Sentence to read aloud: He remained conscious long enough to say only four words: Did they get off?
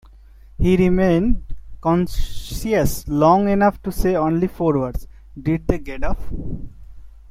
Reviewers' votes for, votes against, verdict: 0, 2, rejected